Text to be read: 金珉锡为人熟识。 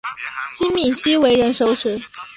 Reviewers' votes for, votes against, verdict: 2, 0, accepted